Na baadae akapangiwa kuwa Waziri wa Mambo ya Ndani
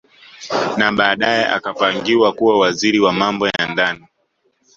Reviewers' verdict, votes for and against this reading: accepted, 2, 1